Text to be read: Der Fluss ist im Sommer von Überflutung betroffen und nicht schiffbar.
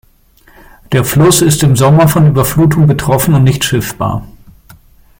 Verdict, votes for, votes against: accepted, 2, 0